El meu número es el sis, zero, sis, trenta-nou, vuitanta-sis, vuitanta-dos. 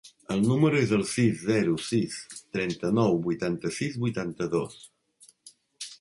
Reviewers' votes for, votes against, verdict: 1, 2, rejected